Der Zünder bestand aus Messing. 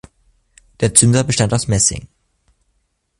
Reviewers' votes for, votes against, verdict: 2, 0, accepted